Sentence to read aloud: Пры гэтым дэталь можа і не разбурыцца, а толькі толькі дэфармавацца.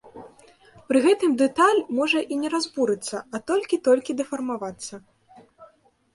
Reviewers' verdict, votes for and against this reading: rejected, 0, 2